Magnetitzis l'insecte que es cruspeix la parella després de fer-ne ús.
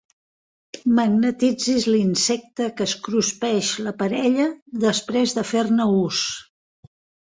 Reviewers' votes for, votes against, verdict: 2, 0, accepted